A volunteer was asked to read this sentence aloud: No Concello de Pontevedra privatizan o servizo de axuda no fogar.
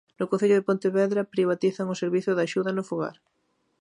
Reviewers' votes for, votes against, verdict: 2, 0, accepted